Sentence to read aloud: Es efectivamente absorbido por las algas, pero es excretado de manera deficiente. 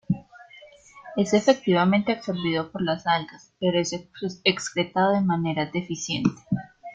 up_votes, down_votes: 2, 0